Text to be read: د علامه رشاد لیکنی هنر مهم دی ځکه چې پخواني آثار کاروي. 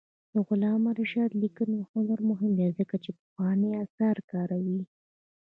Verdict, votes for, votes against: accepted, 2, 0